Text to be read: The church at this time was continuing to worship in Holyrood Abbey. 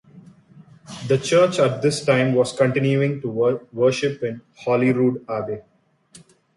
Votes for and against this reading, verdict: 0, 2, rejected